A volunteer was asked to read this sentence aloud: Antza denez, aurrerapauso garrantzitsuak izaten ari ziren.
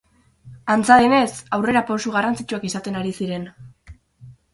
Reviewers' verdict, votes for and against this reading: rejected, 0, 2